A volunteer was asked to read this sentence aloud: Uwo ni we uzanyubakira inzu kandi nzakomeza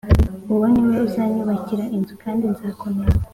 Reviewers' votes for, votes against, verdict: 2, 0, accepted